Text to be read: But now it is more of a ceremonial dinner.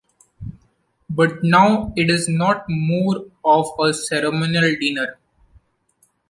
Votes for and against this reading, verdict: 0, 2, rejected